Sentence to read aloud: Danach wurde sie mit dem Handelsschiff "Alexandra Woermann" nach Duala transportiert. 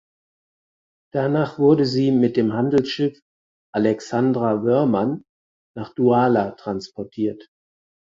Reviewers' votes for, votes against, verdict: 4, 0, accepted